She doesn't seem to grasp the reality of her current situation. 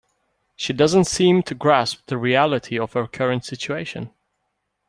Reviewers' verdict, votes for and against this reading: accepted, 2, 0